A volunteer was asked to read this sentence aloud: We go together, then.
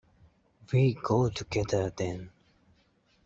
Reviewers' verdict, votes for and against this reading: accepted, 2, 0